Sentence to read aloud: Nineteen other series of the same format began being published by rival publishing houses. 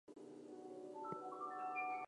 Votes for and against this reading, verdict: 0, 4, rejected